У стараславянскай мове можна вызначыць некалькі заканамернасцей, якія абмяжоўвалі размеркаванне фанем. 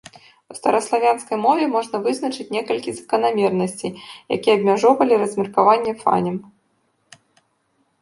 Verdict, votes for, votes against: rejected, 1, 2